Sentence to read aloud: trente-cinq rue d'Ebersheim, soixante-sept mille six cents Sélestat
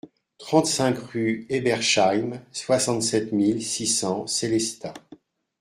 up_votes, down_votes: 0, 2